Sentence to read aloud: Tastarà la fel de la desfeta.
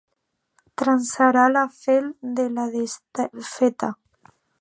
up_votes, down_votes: 0, 2